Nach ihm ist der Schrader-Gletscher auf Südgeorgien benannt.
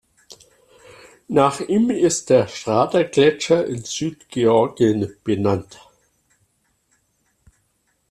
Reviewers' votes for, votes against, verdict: 0, 2, rejected